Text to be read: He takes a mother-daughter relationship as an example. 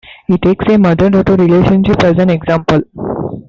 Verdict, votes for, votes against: accepted, 2, 0